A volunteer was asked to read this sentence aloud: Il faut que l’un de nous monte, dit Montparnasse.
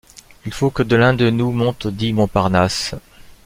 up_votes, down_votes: 1, 2